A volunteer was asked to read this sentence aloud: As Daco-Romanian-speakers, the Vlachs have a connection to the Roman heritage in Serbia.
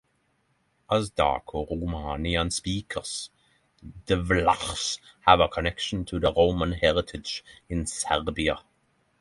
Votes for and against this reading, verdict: 3, 3, rejected